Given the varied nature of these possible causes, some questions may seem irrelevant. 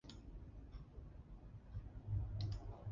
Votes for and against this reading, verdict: 0, 2, rejected